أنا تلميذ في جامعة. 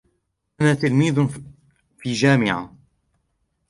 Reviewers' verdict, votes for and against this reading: rejected, 1, 2